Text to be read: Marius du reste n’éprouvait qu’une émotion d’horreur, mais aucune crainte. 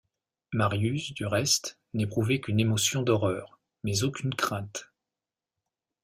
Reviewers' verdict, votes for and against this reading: accepted, 2, 0